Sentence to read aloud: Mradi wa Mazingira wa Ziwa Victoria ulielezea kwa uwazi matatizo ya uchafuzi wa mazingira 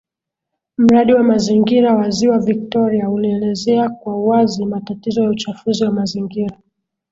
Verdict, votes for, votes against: accepted, 8, 0